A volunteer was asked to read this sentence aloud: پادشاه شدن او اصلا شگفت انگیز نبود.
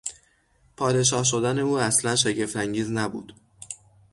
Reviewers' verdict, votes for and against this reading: accepted, 6, 0